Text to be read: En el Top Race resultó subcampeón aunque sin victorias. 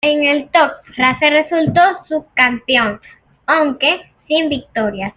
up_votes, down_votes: 2, 0